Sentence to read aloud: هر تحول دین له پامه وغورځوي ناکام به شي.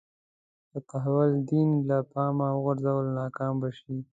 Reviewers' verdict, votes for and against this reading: rejected, 1, 2